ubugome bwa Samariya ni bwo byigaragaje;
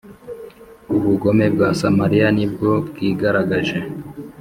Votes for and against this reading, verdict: 2, 0, accepted